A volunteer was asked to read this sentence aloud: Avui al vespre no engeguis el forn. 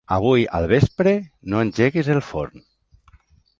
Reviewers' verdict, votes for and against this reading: accepted, 2, 0